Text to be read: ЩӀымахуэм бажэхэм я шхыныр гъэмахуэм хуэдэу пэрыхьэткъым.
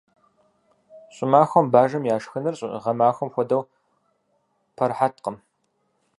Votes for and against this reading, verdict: 0, 4, rejected